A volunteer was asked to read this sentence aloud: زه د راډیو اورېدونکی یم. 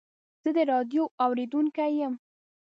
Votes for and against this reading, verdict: 2, 0, accepted